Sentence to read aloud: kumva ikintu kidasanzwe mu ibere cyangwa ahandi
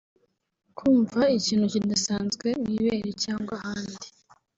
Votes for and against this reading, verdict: 1, 2, rejected